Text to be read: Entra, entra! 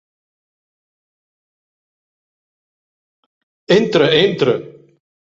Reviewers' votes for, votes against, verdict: 2, 1, accepted